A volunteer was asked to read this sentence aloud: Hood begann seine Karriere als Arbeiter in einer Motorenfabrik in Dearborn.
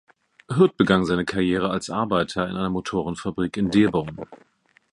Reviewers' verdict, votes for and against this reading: rejected, 1, 2